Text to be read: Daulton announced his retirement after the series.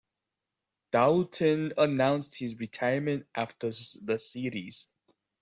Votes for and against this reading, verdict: 2, 0, accepted